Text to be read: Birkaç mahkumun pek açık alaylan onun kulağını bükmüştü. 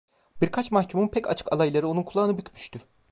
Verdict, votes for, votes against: rejected, 1, 2